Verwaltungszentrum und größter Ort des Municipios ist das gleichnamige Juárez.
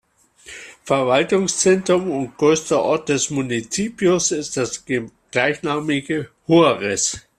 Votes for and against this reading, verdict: 1, 2, rejected